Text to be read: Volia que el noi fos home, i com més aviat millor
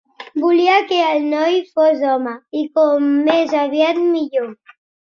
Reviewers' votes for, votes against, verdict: 3, 0, accepted